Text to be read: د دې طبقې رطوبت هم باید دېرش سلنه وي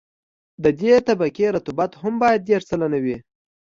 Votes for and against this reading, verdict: 2, 0, accepted